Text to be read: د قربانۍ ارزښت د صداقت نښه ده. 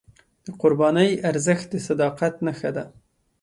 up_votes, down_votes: 2, 0